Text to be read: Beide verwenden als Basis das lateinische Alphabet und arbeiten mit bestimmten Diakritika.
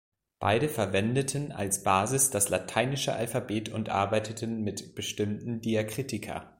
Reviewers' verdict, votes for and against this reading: rejected, 1, 2